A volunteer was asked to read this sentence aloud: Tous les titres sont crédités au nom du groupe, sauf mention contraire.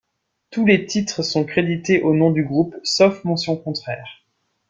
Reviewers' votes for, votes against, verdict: 2, 0, accepted